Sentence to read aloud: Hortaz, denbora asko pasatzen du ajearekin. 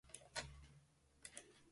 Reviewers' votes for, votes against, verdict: 0, 3, rejected